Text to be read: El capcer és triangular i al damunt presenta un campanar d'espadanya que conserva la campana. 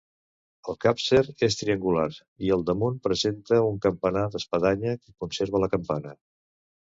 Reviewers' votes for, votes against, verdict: 0, 2, rejected